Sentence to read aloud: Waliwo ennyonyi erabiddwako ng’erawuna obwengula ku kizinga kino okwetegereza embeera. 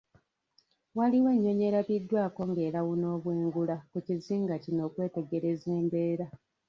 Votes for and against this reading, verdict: 0, 2, rejected